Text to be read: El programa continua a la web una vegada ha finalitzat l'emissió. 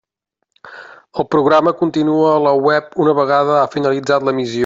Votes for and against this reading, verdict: 0, 2, rejected